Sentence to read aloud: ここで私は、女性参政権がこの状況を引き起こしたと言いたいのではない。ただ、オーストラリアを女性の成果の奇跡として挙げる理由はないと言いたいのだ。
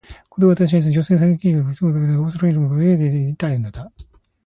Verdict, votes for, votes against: rejected, 0, 2